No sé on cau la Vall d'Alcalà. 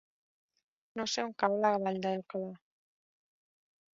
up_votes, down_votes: 0, 3